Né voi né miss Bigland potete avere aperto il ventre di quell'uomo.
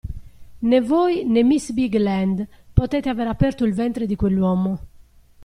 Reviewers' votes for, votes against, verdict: 2, 0, accepted